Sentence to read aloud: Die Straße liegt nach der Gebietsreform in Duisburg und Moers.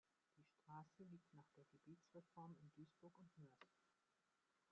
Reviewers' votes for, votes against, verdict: 0, 2, rejected